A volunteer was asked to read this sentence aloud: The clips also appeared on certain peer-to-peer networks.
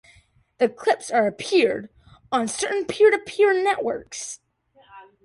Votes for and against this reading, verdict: 0, 2, rejected